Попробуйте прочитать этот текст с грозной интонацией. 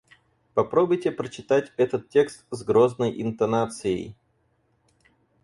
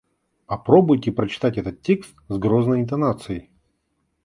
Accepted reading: second